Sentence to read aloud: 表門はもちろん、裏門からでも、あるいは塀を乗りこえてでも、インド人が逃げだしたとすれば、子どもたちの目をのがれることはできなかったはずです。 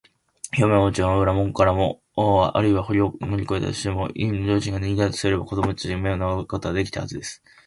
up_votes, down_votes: 0, 2